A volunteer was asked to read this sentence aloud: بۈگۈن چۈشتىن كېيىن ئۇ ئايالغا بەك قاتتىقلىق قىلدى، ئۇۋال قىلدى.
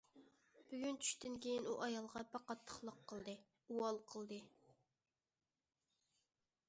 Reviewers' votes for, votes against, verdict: 2, 0, accepted